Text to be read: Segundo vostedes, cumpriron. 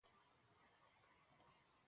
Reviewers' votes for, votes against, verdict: 0, 2, rejected